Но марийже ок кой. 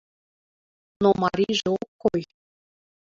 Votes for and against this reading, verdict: 1, 2, rejected